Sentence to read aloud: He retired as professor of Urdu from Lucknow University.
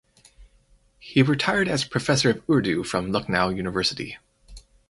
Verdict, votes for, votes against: accepted, 4, 0